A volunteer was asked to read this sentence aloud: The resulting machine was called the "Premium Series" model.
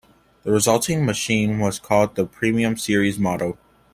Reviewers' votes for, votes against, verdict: 2, 0, accepted